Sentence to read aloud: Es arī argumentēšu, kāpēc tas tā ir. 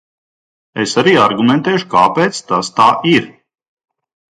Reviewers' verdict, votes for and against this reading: accepted, 2, 0